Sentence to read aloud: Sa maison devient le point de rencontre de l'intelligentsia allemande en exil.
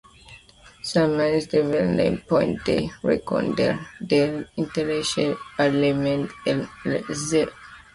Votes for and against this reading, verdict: 1, 2, rejected